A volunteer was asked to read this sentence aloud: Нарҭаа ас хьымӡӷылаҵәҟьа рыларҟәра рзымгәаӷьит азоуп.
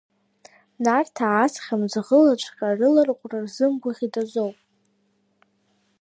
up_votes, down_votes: 1, 2